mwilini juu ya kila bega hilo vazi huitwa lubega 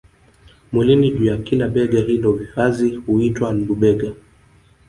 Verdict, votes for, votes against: accepted, 2, 1